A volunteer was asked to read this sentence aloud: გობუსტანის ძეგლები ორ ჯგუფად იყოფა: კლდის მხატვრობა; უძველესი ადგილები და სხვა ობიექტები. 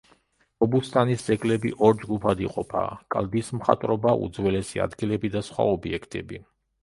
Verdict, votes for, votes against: rejected, 1, 2